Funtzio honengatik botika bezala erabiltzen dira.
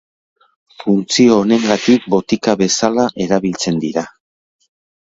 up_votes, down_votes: 3, 0